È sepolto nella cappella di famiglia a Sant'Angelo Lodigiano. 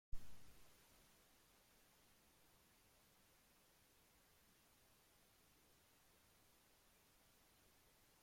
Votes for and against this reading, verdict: 0, 2, rejected